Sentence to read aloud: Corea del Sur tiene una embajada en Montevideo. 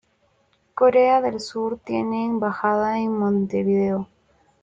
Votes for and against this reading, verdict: 1, 2, rejected